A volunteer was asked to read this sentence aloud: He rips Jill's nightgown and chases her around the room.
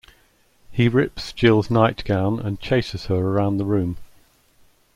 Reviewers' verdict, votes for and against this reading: accepted, 2, 0